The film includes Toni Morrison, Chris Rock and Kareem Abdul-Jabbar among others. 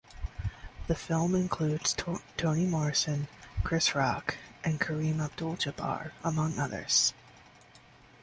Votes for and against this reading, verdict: 1, 2, rejected